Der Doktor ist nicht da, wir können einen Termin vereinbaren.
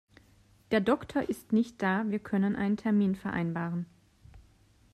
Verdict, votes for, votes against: accepted, 2, 0